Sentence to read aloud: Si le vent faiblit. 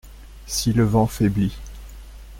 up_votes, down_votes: 2, 0